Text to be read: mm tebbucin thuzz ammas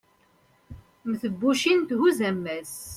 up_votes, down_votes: 2, 0